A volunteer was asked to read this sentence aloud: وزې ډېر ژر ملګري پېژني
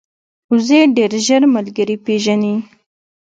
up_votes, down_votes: 2, 0